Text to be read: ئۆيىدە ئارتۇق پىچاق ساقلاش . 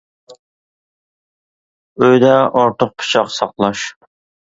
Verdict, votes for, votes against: accepted, 2, 0